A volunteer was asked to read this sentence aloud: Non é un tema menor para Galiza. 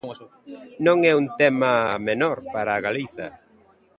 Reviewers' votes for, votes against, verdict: 0, 2, rejected